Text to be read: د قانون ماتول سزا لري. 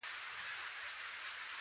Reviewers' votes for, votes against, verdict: 2, 0, accepted